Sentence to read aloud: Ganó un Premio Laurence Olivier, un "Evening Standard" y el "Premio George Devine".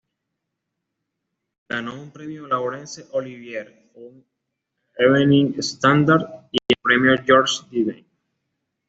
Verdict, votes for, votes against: accepted, 2, 0